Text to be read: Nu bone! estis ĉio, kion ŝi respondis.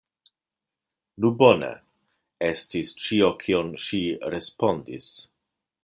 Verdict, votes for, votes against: accepted, 2, 0